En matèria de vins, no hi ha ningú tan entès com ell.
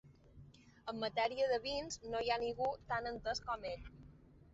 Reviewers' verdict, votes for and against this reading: accepted, 3, 1